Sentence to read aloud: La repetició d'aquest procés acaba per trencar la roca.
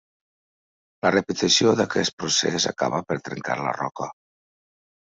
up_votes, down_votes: 3, 0